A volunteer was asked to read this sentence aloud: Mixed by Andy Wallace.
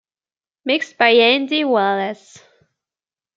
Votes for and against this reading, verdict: 2, 0, accepted